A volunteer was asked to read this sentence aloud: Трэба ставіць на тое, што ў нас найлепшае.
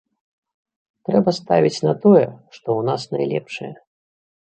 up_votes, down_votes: 2, 0